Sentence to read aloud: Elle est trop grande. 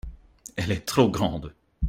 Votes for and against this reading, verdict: 2, 0, accepted